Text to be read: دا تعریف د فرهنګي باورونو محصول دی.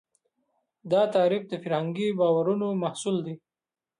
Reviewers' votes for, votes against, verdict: 2, 0, accepted